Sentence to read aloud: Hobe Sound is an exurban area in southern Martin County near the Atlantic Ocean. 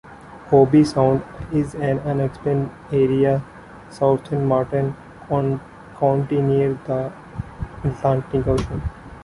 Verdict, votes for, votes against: rejected, 0, 2